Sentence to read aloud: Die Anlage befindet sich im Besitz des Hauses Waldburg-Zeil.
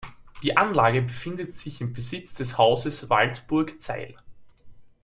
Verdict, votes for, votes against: accepted, 2, 0